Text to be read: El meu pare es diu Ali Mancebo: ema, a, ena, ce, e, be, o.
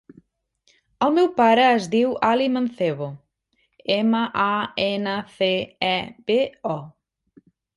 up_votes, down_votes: 1, 2